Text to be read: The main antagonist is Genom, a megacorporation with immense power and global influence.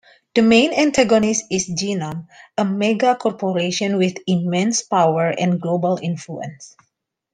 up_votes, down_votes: 2, 0